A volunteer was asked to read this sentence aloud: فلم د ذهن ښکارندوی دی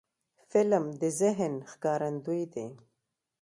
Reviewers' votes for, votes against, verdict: 2, 0, accepted